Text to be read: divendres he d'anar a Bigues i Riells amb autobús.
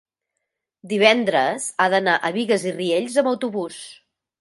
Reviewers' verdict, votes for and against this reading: rejected, 1, 2